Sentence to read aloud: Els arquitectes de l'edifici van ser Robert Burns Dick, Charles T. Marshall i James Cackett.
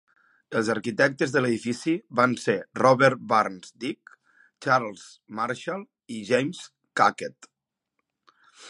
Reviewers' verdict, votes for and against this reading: rejected, 1, 3